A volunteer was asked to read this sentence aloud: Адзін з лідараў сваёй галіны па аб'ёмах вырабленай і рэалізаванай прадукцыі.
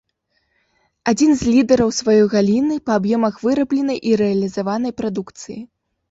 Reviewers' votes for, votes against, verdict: 2, 3, rejected